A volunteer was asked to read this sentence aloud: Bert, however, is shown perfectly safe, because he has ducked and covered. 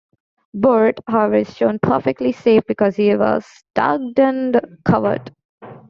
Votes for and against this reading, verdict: 2, 0, accepted